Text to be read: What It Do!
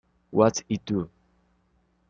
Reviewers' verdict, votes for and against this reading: rejected, 1, 2